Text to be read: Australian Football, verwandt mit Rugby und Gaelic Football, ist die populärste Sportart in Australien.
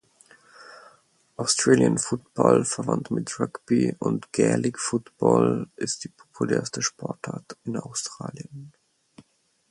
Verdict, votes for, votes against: accepted, 4, 0